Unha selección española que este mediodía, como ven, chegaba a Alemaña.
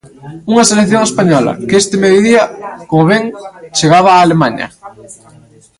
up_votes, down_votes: 2, 1